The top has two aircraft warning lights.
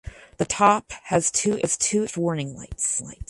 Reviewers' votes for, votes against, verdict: 0, 4, rejected